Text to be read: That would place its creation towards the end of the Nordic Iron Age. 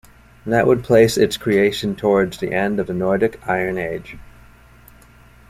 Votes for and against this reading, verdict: 2, 1, accepted